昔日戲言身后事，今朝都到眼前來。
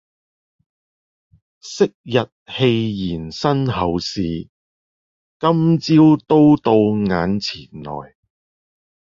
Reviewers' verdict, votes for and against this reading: accepted, 2, 0